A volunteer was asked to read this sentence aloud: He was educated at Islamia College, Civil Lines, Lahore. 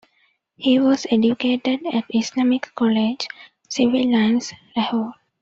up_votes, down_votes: 1, 2